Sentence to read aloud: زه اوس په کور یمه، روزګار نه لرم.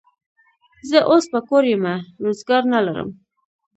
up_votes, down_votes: 3, 0